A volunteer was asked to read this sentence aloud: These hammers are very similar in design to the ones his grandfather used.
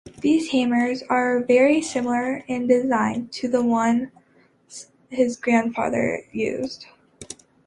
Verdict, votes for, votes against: accepted, 2, 0